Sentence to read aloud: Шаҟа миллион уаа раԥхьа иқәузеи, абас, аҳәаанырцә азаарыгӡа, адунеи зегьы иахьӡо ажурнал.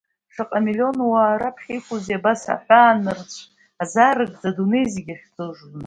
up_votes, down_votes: 2, 0